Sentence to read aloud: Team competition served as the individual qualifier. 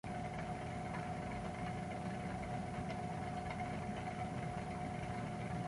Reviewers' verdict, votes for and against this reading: rejected, 0, 2